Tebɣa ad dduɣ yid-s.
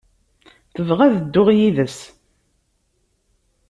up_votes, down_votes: 2, 0